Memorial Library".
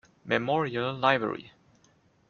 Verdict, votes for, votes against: accepted, 2, 0